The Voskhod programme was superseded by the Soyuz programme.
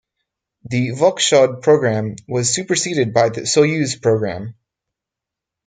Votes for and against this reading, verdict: 4, 0, accepted